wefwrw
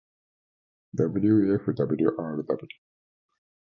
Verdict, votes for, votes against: rejected, 0, 2